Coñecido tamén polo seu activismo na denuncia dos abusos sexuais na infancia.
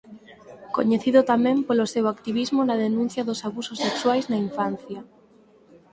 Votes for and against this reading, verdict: 4, 0, accepted